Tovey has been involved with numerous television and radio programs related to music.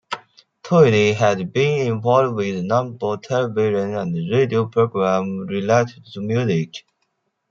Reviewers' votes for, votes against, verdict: 0, 2, rejected